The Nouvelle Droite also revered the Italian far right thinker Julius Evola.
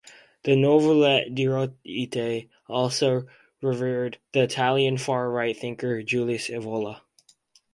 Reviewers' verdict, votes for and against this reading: rejected, 0, 4